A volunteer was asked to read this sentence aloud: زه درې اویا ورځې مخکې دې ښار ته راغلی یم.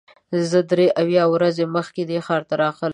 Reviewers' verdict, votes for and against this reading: rejected, 0, 3